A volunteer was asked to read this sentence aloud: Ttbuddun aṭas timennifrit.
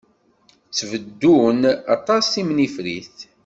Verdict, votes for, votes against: rejected, 1, 2